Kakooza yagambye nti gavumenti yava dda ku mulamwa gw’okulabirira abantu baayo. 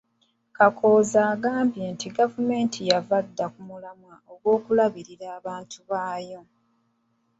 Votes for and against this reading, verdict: 1, 2, rejected